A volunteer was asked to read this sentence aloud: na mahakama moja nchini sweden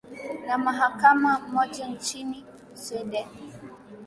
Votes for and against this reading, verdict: 10, 1, accepted